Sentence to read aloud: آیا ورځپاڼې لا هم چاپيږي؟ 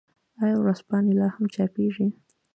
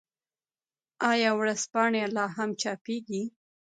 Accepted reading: first